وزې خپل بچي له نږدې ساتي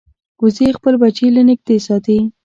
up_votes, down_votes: 2, 0